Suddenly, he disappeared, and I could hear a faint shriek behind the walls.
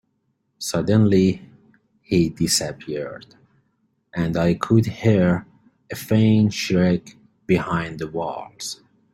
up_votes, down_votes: 3, 1